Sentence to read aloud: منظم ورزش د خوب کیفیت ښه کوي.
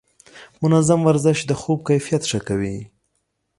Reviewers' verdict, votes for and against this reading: accepted, 2, 0